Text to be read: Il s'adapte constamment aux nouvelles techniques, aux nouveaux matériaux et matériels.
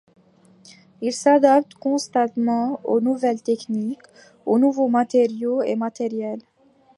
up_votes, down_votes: 1, 2